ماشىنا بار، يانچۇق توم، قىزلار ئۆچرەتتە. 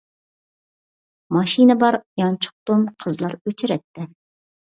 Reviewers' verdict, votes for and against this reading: accepted, 2, 0